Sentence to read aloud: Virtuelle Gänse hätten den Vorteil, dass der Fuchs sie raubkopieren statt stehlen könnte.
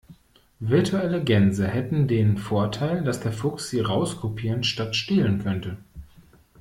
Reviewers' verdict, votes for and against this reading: rejected, 0, 2